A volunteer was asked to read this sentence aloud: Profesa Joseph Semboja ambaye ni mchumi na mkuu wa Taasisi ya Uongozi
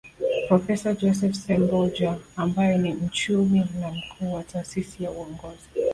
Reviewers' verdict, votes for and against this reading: accepted, 2, 1